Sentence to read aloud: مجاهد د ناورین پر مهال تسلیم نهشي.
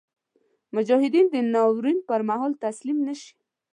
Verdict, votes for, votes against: accepted, 3, 0